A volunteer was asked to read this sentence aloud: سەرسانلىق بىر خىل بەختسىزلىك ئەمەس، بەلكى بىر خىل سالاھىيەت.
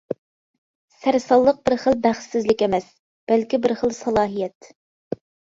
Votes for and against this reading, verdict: 2, 0, accepted